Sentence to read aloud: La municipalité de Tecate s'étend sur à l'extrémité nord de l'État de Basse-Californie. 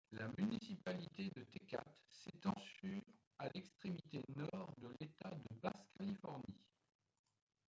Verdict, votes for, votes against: rejected, 1, 2